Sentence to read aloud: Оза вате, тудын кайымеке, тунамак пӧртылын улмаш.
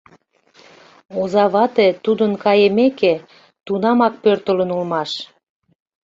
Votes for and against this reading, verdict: 2, 0, accepted